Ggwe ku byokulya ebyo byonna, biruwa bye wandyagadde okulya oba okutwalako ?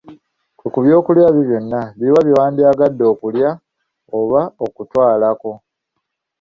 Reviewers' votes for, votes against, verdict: 1, 3, rejected